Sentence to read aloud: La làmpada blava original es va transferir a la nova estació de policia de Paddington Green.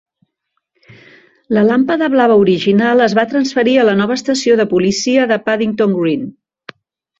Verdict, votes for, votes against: accepted, 3, 0